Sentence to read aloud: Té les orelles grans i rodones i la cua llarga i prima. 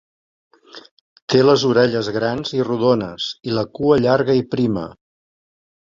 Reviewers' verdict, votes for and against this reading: accepted, 2, 0